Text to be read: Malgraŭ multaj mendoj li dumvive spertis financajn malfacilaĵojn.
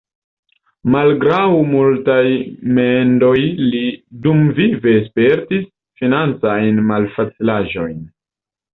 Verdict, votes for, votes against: rejected, 1, 2